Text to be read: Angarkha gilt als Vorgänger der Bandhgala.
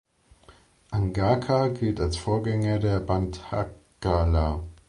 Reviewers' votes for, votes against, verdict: 0, 2, rejected